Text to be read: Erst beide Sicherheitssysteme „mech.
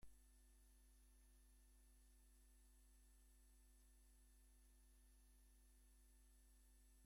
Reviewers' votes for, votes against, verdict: 0, 2, rejected